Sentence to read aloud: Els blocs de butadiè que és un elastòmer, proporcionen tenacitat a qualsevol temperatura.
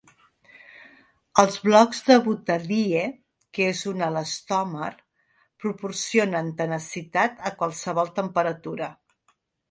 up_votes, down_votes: 0, 2